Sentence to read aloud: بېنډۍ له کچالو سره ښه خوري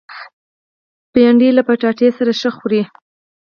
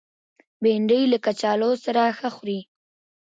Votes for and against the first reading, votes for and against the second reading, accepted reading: 0, 4, 2, 1, second